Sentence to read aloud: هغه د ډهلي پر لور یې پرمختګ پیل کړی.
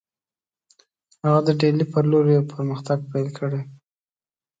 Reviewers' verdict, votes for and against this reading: accepted, 2, 0